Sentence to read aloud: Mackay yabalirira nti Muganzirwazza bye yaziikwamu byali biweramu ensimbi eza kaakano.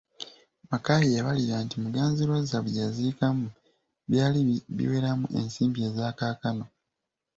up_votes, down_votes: 2, 1